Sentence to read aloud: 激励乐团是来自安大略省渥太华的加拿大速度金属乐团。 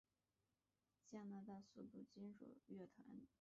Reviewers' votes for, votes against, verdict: 0, 2, rejected